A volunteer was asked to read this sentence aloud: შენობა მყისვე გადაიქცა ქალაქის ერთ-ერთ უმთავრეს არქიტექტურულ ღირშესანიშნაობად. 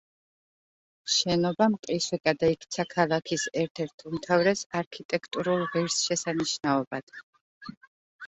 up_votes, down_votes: 1, 2